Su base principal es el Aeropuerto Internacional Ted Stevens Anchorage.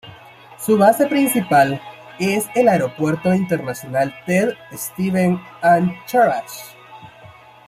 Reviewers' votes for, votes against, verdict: 1, 2, rejected